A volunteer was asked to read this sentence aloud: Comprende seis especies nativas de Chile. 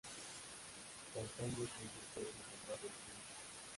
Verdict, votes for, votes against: rejected, 0, 2